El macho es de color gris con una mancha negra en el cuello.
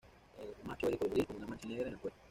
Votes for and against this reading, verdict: 2, 0, accepted